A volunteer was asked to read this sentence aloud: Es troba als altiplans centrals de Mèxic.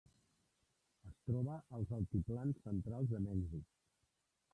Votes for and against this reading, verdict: 0, 2, rejected